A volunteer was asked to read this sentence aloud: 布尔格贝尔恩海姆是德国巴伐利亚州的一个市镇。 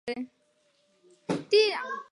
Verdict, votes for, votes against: rejected, 0, 3